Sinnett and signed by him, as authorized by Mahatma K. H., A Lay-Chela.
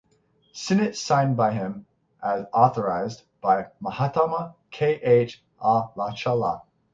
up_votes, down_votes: 0, 6